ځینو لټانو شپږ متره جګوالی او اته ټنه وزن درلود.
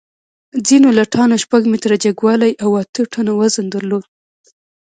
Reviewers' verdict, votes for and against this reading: rejected, 1, 2